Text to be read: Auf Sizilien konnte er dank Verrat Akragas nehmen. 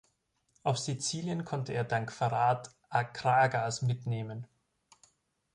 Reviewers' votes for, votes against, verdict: 0, 2, rejected